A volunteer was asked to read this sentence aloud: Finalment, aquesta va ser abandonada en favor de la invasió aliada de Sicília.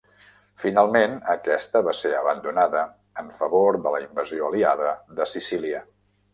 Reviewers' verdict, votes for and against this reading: accepted, 3, 1